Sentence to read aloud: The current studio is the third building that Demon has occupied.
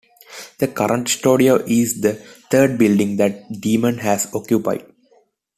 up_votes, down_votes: 2, 0